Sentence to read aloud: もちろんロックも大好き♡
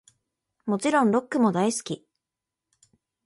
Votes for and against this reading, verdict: 1, 2, rejected